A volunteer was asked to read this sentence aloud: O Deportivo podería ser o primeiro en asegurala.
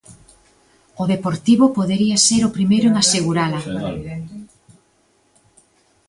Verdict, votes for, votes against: accepted, 2, 1